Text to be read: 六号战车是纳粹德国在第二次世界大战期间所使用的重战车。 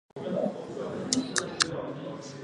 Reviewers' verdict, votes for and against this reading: rejected, 0, 3